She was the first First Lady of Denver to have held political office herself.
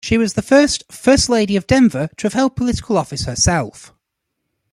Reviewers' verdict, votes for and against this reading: rejected, 1, 2